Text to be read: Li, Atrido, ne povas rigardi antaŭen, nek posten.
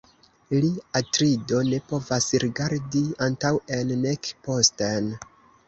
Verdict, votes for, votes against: rejected, 1, 2